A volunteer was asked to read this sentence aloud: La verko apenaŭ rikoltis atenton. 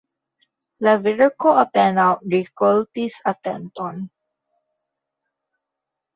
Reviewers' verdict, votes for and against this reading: rejected, 0, 2